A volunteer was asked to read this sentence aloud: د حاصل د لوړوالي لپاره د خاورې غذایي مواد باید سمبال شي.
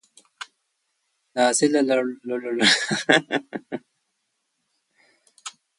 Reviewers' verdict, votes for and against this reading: rejected, 0, 3